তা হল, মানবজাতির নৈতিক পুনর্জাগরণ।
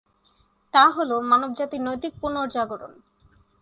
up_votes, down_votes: 4, 0